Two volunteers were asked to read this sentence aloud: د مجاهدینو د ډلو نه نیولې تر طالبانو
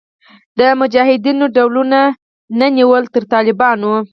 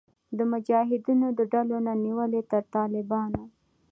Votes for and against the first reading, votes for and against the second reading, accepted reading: 0, 4, 2, 0, second